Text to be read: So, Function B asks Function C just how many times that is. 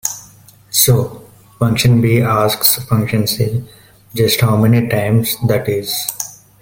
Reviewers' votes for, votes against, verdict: 2, 1, accepted